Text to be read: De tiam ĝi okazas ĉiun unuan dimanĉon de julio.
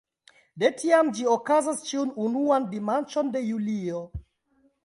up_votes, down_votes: 0, 2